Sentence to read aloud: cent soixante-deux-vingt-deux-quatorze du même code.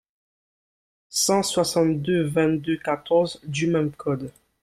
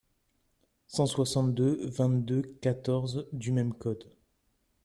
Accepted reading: second